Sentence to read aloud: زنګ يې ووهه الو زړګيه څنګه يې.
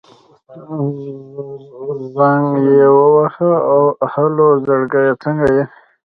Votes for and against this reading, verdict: 1, 2, rejected